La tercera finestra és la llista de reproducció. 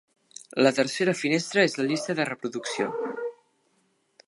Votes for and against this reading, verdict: 2, 0, accepted